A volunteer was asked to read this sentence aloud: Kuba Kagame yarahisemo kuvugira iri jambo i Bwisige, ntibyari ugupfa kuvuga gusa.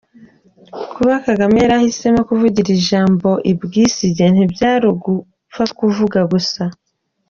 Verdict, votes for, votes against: accepted, 2, 1